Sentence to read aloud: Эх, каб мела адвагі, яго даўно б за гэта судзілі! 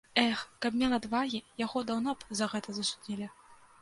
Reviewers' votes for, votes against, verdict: 1, 2, rejected